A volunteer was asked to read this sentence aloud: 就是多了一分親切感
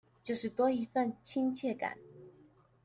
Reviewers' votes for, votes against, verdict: 1, 2, rejected